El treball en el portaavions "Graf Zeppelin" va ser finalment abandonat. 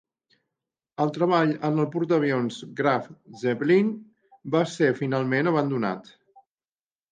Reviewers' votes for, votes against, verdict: 2, 0, accepted